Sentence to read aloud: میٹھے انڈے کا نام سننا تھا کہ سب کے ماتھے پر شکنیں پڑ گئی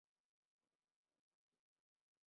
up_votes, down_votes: 0, 2